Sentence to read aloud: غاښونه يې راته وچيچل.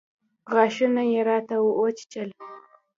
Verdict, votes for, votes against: accepted, 2, 0